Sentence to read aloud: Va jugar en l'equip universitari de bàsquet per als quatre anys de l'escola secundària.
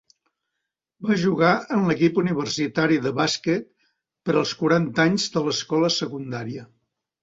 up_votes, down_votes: 0, 3